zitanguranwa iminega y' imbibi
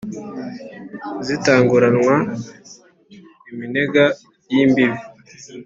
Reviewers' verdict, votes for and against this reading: accepted, 2, 0